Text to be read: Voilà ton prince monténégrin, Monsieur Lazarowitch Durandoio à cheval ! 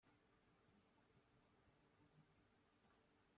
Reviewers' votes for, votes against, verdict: 0, 2, rejected